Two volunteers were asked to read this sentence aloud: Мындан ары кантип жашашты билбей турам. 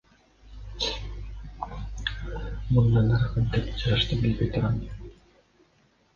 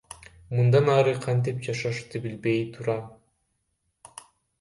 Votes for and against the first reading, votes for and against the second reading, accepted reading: 2, 1, 0, 2, first